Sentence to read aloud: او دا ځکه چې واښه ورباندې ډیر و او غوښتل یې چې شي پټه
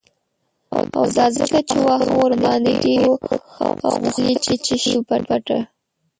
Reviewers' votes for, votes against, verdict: 0, 3, rejected